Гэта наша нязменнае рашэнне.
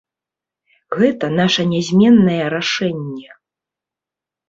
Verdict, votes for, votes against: accepted, 2, 0